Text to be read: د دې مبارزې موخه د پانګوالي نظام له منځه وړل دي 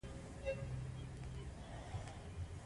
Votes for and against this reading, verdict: 2, 0, accepted